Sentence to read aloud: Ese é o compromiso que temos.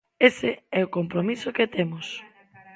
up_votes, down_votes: 1, 2